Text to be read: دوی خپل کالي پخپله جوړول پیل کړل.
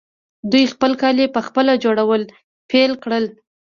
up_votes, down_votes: 2, 3